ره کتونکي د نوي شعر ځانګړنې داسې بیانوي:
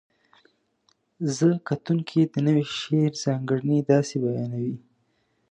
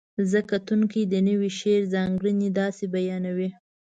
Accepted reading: first